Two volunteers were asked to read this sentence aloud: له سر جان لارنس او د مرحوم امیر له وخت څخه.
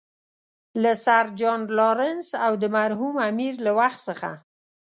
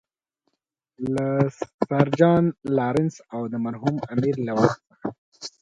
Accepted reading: first